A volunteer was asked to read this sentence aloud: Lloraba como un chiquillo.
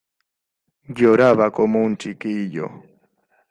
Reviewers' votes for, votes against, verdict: 2, 1, accepted